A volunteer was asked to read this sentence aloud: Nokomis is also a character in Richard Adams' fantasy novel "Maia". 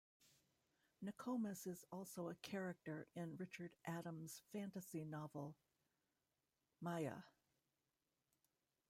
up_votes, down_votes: 1, 2